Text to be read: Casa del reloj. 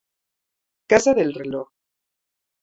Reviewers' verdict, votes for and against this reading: rejected, 0, 2